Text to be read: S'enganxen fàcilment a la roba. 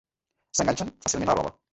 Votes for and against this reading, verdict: 1, 2, rejected